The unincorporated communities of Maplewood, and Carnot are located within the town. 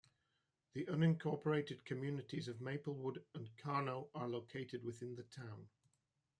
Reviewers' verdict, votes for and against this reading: accepted, 2, 0